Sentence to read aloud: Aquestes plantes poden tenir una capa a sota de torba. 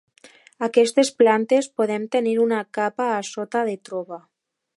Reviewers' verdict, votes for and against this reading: rejected, 0, 2